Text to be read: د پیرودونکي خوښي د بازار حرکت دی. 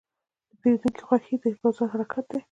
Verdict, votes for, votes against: rejected, 0, 2